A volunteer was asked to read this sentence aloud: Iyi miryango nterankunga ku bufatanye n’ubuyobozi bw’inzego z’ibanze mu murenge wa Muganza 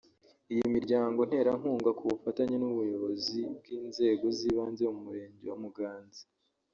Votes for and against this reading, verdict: 1, 2, rejected